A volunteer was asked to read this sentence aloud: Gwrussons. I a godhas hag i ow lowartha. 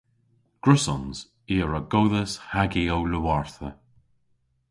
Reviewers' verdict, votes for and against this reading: rejected, 0, 2